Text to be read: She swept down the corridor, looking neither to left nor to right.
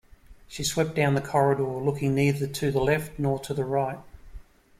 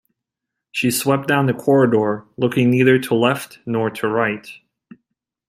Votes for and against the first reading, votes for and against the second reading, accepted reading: 0, 2, 2, 0, second